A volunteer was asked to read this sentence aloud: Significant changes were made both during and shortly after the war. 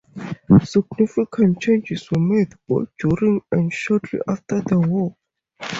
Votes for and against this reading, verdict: 0, 2, rejected